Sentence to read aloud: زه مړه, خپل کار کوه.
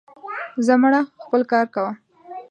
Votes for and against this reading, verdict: 1, 2, rejected